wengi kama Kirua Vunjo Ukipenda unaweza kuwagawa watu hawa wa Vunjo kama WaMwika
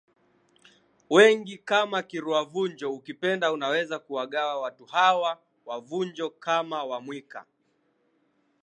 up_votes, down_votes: 0, 3